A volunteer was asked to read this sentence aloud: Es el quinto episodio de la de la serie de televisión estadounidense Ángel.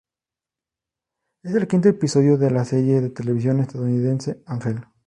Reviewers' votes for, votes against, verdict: 0, 2, rejected